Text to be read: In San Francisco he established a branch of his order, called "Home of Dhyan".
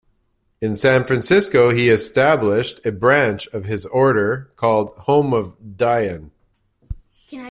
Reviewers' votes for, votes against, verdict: 2, 0, accepted